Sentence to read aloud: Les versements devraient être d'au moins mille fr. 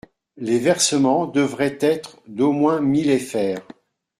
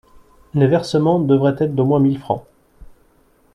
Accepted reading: second